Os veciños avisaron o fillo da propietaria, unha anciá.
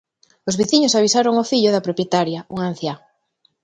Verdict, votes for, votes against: accepted, 2, 0